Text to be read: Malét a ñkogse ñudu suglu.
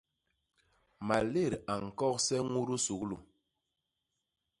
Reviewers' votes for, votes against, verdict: 2, 0, accepted